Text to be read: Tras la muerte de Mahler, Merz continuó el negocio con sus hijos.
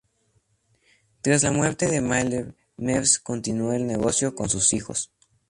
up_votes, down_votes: 0, 2